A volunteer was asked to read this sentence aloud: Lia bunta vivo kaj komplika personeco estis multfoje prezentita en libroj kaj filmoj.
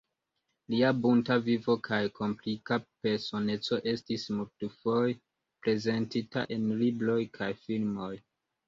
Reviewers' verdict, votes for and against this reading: accepted, 2, 0